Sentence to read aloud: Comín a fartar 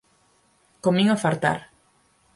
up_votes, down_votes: 4, 0